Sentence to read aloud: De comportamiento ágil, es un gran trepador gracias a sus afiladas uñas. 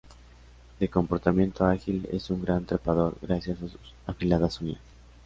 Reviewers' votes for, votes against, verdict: 0, 2, rejected